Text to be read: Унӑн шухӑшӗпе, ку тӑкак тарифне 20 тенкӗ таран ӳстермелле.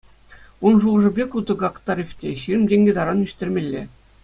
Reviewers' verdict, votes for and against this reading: rejected, 0, 2